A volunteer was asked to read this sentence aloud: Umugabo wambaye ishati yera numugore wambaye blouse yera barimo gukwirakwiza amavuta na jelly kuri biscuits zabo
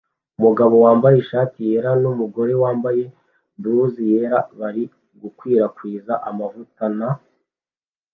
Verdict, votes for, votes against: rejected, 2, 3